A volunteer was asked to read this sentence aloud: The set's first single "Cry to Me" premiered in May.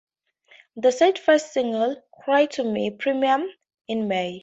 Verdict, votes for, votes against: rejected, 0, 2